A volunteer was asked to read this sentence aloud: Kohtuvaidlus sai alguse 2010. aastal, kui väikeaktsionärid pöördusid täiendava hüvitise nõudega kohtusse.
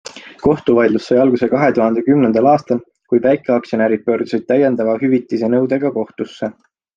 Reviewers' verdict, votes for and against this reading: rejected, 0, 2